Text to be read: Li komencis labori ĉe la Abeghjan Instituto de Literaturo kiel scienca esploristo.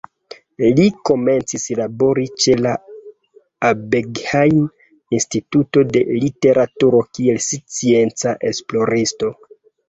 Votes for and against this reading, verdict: 1, 2, rejected